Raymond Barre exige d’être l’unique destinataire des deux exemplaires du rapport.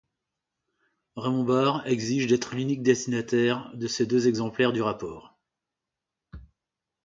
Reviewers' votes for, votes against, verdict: 0, 2, rejected